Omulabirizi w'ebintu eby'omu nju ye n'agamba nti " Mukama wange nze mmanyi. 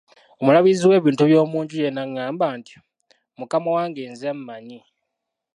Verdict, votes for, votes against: rejected, 1, 2